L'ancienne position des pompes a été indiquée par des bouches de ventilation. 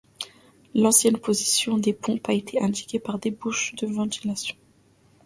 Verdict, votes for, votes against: accepted, 2, 0